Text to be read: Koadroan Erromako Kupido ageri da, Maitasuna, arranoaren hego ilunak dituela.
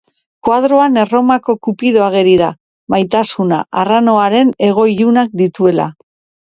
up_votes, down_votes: 5, 0